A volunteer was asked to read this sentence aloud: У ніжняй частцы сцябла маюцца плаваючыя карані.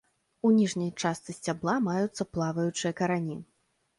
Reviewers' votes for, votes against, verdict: 2, 0, accepted